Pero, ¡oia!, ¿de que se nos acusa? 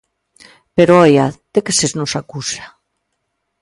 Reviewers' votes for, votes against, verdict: 1, 2, rejected